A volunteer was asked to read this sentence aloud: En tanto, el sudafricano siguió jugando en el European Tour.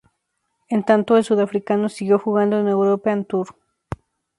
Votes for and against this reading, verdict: 2, 0, accepted